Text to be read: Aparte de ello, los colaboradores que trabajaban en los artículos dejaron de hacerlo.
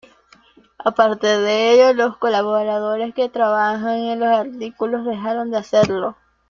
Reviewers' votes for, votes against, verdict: 1, 2, rejected